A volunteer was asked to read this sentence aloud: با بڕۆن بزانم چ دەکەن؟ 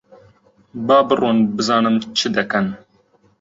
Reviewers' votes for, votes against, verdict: 2, 0, accepted